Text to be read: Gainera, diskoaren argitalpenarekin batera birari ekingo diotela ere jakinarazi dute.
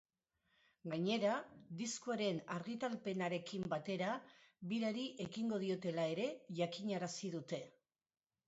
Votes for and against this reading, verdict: 1, 2, rejected